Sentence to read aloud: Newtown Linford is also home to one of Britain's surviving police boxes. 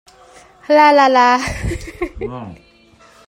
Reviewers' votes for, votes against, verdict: 0, 2, rejected